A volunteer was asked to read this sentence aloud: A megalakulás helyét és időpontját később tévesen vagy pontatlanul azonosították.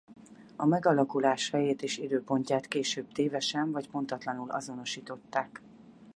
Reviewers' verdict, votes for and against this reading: rejected, 2, 2